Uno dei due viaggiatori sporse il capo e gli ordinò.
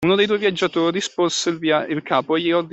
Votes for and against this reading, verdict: 0, 2, rejected